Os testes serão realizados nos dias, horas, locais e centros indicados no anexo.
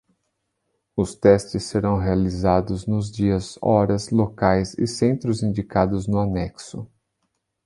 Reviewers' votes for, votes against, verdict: 2, 0, accepted